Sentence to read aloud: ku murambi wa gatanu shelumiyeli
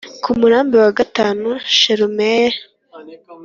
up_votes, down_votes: 3, 0